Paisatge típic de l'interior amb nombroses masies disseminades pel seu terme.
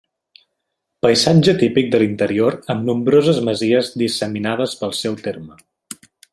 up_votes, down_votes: 2, 0